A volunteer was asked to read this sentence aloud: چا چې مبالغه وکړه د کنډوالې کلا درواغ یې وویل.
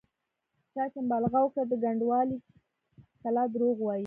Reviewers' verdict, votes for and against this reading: rejected, 0, 2